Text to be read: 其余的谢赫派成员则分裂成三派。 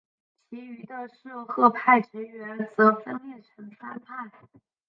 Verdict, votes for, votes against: rejected, 0, 2